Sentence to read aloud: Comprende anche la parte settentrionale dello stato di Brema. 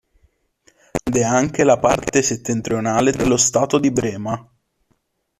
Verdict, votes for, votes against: rejected, 0, 2